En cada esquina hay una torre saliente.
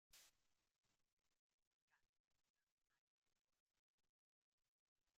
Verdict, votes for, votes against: rejected, 0, 2